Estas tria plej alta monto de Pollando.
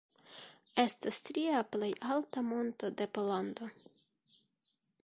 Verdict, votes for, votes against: rejected, 1, 2